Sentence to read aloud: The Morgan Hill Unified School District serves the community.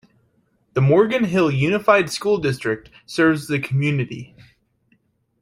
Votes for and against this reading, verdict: 3, 0, accepted